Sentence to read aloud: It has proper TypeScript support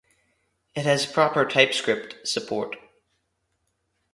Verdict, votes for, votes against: accepted, 2, 0